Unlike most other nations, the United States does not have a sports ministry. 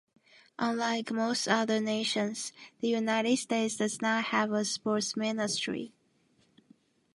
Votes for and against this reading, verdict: 2, 1, accepted